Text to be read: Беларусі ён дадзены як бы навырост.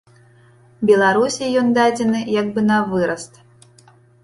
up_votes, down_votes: 0, 2